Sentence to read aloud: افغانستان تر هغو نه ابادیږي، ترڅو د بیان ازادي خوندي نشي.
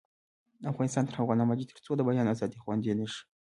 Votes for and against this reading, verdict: 2, 1, accepted